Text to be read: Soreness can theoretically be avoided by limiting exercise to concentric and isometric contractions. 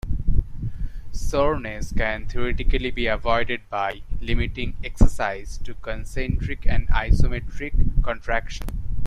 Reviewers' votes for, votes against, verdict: 0, 2, rejected